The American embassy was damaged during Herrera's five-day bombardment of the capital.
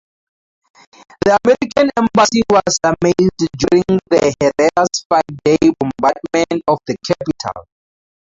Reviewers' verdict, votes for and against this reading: accepted, 2, 0